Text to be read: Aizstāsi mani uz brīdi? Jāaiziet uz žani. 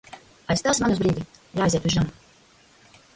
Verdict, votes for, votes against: rejected, 0, 2